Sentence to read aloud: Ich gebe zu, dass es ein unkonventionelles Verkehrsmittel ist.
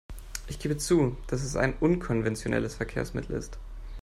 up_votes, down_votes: 2, 0